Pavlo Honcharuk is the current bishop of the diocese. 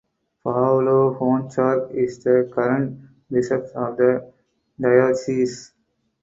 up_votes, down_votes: 4, 2